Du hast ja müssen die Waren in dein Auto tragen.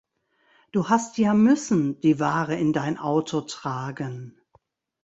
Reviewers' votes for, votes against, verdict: 0, 2, rejected